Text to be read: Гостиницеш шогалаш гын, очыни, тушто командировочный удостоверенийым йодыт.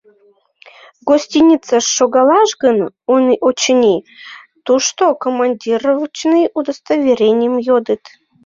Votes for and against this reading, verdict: 0, 2, rejected